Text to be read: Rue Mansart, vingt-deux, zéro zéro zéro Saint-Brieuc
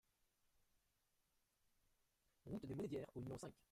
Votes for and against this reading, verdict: 0, 2, rejected